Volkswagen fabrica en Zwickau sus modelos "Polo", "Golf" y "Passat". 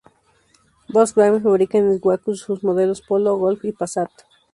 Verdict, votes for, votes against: rejected, 0, 2